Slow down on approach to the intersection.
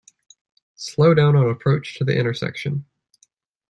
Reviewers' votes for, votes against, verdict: 2, 0, accepted